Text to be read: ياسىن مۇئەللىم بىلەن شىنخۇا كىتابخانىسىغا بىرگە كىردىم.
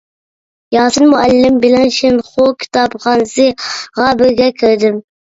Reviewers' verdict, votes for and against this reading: rejected, 1, 2